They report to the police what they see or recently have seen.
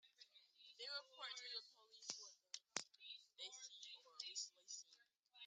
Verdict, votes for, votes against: rejected, 0, 2